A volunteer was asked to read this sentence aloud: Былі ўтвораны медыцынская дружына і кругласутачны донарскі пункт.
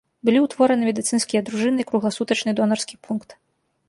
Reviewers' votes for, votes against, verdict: 1, 2, rejected